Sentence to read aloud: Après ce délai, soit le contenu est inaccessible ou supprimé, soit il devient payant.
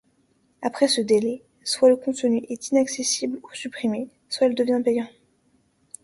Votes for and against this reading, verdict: 2, 0, accepted